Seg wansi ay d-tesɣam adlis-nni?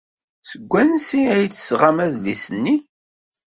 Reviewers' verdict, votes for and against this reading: accepted, 2, 0